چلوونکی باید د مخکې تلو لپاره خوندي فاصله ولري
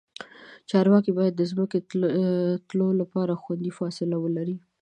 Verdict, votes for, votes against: rejected, 1, 2